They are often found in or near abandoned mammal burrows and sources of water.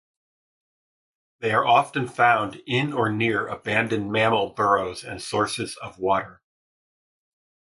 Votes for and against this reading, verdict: 2, 0, accepted